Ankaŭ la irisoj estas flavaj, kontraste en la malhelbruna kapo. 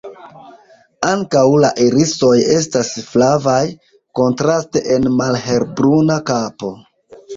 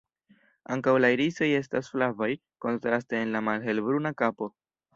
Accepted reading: second